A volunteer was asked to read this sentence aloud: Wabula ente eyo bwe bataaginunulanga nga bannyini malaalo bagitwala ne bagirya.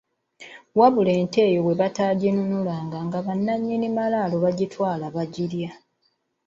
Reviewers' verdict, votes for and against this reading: accepted, 2, 1